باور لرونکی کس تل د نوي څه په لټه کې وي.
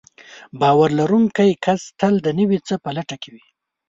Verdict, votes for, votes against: accepted, 2, 0